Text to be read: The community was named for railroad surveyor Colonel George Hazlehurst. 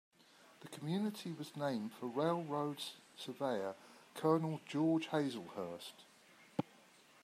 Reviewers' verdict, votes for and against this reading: accepted, 2, 0